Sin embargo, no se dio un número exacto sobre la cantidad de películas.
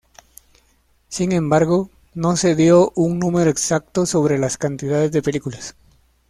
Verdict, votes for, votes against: rejected, 1, 2